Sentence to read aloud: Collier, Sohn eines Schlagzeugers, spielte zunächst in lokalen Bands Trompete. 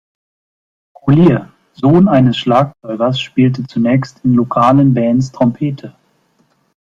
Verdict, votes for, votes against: accepted, 2, 1